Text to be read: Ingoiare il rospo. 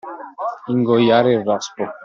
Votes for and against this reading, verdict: 2, 0, accepted